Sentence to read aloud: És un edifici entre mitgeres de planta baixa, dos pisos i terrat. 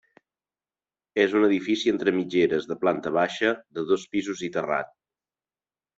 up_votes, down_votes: 2, 0